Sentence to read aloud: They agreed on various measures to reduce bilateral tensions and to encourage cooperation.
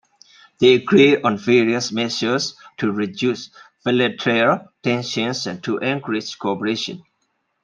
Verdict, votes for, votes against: accepted, 2, 0